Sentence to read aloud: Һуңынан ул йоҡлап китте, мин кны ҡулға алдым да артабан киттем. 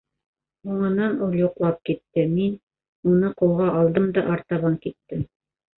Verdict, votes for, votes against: rejected, 0, 2